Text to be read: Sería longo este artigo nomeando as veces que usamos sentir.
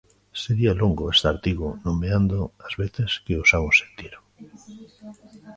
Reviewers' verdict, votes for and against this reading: rejected, 0, 2